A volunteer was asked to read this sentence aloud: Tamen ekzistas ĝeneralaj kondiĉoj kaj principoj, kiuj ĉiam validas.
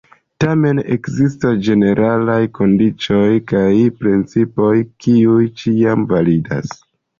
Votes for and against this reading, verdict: 2, 0, accepted